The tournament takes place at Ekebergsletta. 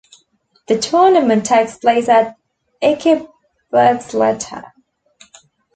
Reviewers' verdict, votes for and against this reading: accepted, 2, 0